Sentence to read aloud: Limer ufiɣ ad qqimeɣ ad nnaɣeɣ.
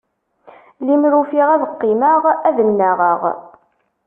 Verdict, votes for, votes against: accepted, 2, 0